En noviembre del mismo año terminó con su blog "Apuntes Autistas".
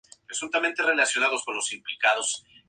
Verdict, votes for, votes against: accepted, 2, 0